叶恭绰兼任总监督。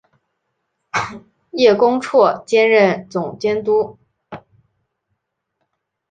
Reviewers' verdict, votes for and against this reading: accepted, 9, 0